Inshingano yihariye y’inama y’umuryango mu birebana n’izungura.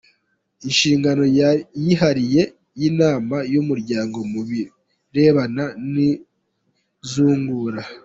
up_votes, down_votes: 1, 2